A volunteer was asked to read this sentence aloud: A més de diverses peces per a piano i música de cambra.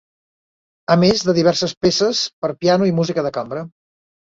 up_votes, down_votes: 2, 0